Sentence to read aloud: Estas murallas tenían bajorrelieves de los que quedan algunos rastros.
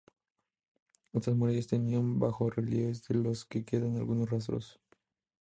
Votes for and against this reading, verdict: 0, 2, rejected